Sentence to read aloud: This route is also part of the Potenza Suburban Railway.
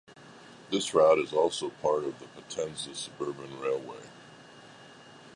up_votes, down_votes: 2, 0